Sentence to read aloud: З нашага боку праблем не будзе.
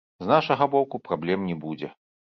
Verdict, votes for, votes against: rejected, 1, 3